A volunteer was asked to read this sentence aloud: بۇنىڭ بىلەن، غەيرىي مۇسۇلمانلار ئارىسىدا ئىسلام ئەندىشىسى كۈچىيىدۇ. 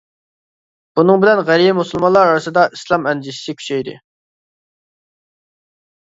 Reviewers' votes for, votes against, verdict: 0, 2, rejected